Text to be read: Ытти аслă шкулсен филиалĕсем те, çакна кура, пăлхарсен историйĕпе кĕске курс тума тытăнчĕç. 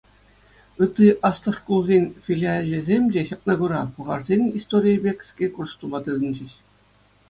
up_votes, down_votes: 2, 0